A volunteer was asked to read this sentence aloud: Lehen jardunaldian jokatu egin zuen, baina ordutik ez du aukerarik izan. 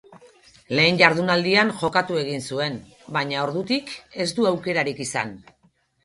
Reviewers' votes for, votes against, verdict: 6, 0, accepted